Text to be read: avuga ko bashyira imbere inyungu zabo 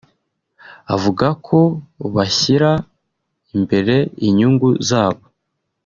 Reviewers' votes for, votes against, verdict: 1, 2, rejected